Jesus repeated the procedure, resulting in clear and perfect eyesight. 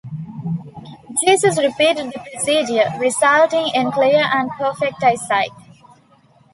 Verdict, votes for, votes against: accepted, 2, 0